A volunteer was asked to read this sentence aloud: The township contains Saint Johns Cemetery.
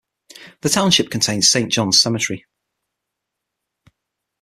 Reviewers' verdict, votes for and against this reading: accepted, 9, 0